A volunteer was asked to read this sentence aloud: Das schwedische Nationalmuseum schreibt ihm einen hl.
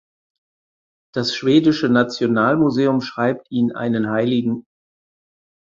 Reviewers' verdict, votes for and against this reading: accepted, 4, 0